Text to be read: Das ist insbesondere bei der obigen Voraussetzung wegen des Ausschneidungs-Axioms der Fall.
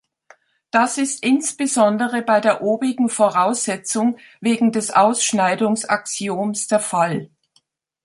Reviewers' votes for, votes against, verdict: 2, 0, accepted